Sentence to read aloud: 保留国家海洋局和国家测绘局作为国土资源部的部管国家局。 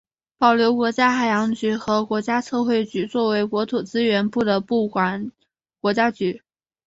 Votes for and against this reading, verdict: 2, 1, accepted